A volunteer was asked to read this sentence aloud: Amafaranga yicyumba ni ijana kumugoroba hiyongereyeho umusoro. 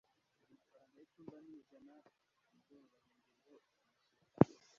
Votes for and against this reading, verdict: 1, 2, rejected